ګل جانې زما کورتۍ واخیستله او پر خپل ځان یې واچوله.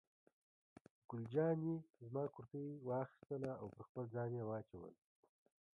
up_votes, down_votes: 1, 2